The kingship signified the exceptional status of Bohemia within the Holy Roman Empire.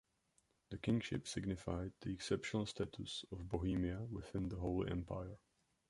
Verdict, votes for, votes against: accepted, 2, 1